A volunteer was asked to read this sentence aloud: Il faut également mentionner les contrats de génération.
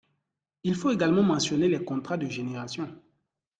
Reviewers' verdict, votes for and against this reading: rejected, 1, 2